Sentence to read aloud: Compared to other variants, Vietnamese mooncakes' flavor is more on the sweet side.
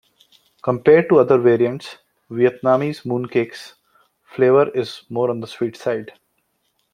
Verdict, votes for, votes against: accepted, 2, 0